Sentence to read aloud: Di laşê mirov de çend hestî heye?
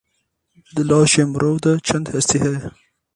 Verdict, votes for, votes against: rejected, 0, 4